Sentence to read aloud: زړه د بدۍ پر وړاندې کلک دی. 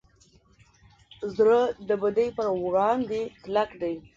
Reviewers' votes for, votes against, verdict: 1, 2, rejected